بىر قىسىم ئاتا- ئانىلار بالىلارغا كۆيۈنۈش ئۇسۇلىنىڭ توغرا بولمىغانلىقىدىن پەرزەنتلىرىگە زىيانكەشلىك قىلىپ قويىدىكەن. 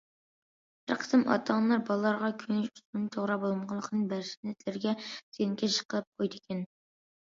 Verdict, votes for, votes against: rejected, 0, 2